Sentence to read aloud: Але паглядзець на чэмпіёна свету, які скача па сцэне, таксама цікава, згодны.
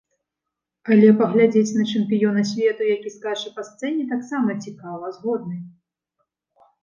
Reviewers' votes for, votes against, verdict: 2, 0, accepted